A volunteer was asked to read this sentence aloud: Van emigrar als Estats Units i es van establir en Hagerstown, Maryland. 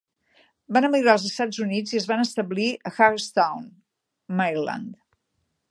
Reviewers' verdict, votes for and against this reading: accepted, 5, 1